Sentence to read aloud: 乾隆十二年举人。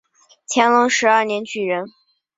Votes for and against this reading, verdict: 2, 0, accepted